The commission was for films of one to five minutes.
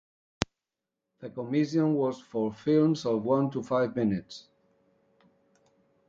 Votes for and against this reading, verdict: 0, 2, rejected